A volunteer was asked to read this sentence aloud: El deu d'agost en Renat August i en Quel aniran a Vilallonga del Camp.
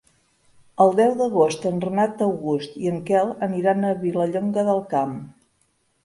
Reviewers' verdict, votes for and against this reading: accepted, 4, 0